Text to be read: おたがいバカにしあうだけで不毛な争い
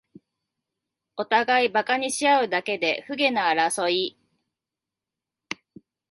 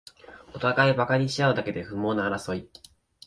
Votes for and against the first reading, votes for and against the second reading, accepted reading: 0, 2, 3, 0, second